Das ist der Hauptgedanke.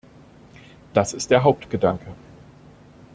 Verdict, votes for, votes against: accepted, 2, 0